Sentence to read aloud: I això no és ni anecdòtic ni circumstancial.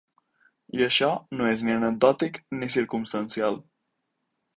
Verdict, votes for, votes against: accepted, 4, 0